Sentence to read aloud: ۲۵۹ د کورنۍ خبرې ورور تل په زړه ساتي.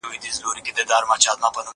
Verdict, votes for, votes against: rejected, 0, 2